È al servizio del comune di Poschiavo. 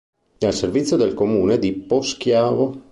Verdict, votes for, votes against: accepted, 2, 0